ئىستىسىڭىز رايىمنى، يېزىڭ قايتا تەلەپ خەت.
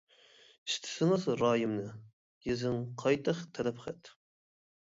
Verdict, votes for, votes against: rejected, 1, 2